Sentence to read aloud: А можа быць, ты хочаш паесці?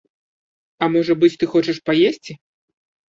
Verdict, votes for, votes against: accepted, 2, 0